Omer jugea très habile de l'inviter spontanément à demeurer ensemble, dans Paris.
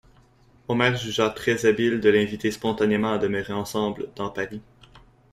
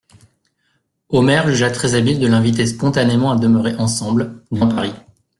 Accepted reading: first